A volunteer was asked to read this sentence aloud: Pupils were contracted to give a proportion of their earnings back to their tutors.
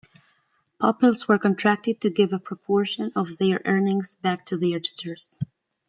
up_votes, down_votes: 0, 2